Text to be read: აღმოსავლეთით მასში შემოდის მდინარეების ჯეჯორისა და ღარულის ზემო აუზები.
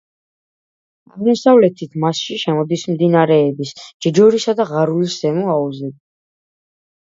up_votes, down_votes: 1, 2